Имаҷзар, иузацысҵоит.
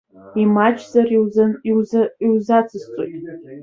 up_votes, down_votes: 0, 2